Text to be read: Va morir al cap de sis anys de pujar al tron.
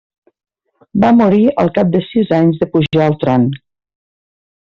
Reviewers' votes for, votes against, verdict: 2, 0, accepted